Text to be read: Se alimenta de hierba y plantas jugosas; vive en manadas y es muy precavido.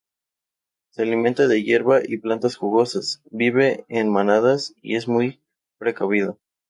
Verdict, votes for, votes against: accepted, 2, 0